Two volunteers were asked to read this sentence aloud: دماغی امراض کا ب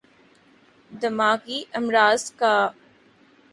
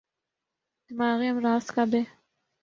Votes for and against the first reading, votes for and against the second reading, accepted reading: 2, 0, 2, 3, first